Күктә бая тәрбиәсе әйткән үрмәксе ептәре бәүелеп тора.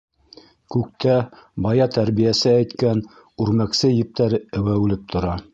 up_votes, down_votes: 0, 2